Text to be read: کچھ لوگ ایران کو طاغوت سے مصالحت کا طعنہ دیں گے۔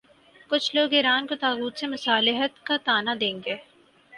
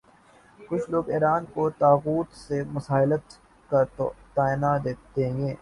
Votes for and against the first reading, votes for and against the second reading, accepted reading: 4, 0, 2, 7, first